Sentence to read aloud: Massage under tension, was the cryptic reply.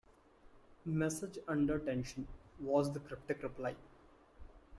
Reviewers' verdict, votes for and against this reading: rejected, 0, 2